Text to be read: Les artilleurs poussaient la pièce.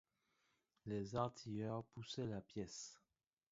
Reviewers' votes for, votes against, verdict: 0, 2, rejected